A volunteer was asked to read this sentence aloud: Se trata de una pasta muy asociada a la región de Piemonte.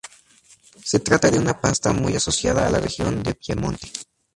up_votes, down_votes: 0, 2